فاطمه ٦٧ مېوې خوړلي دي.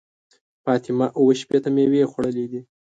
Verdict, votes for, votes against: rejected, 0, 2